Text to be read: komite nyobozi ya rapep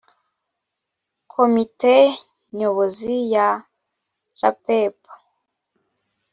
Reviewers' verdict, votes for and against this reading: accepted, 2, 0